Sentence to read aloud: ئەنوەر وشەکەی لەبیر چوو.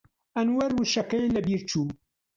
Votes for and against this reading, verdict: 1, 2, rejected